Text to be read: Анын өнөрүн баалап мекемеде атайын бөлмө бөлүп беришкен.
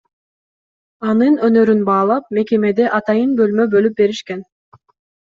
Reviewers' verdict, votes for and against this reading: accepted, 2, 0